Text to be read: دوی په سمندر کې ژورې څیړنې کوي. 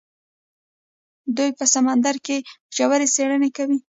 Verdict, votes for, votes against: rejected, 1, 2